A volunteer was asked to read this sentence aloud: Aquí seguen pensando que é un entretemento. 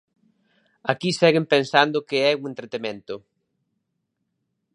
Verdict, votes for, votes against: accepted, 2, 0